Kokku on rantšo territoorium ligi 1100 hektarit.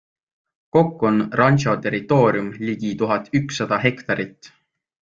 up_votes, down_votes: 0, 2